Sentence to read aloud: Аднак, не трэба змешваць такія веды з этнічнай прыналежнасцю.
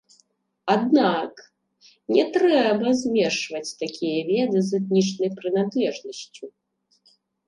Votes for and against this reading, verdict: 2, 0, accepted